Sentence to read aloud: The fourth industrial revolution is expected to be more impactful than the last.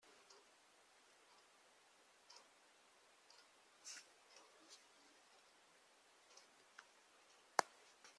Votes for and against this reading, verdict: 0, 2, rejected